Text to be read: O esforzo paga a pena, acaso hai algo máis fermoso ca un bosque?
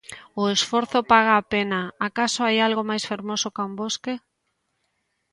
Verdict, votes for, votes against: accepted, 2, 0